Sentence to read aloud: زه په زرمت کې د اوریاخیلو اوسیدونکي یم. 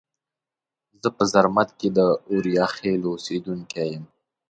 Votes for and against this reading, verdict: 6, 1, accepted